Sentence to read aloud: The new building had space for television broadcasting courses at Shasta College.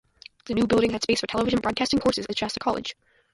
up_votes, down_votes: 0, 2